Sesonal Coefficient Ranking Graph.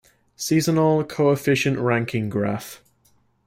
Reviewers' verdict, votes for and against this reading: rejected, 1, 2